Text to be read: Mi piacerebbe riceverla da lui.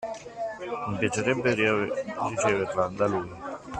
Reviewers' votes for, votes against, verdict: 0, 2, rejected